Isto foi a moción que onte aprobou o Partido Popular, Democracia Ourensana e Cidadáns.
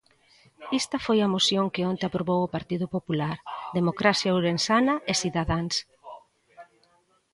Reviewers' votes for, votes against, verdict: 1, 2, rejected